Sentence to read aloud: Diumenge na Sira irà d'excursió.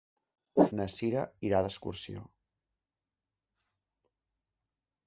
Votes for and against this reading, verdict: 0, 2, rejected